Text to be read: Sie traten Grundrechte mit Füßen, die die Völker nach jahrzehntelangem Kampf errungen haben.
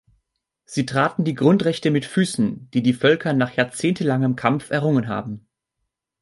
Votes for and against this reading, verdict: 0, 2, rejected